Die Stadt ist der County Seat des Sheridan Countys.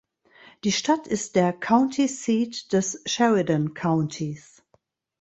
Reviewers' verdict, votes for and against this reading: accepted, 2, 0